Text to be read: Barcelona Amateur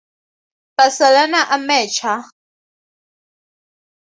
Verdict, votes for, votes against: accepted, 2, 0